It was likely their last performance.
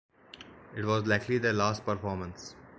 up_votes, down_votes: 2, 1